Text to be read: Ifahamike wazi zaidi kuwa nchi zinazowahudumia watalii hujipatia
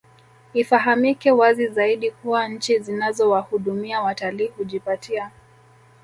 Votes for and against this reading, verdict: 1, 2, rejected